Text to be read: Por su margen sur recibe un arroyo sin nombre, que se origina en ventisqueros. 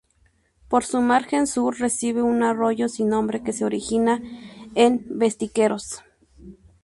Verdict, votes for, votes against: rejected, 0, 2